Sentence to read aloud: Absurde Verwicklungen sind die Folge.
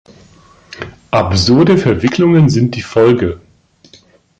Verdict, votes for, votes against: accepted, 2, 0